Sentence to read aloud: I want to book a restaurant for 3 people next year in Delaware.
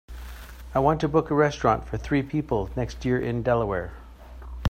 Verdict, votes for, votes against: rejected, 0, 2